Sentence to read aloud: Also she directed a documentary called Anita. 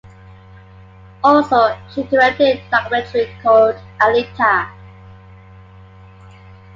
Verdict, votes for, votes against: accepted, 2, 1